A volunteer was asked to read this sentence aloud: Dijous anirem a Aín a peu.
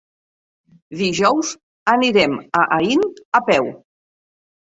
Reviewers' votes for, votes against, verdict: 2, 0, accepted